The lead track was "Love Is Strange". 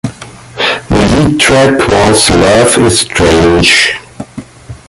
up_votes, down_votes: 2, 1